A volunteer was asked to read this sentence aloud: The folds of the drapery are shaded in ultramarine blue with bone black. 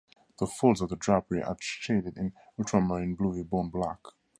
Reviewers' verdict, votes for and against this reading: accepted, 2, 0